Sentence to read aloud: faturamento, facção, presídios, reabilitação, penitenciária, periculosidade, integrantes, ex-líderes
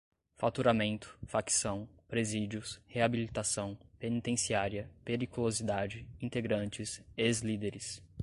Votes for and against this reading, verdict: 2, 0, accepted